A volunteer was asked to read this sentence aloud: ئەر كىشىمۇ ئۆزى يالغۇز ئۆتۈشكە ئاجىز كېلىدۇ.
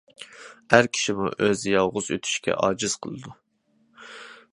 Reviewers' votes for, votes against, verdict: 0, 2, rejected